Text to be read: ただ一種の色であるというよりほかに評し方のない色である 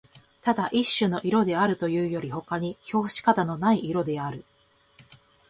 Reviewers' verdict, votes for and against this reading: accepted, 3, 0